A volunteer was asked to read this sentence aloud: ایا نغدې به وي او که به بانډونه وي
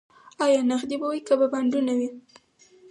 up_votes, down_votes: 4, 0